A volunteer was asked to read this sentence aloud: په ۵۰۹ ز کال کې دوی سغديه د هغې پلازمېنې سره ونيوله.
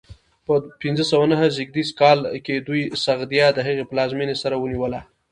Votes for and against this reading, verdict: 0, 2, rejected